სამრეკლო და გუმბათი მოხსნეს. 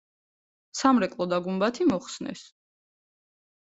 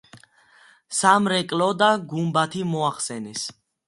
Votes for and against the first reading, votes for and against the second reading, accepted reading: 2, 0, 1, 2, first